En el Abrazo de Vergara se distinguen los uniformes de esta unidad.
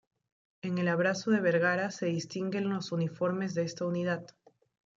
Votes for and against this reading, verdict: 0, 2, rejected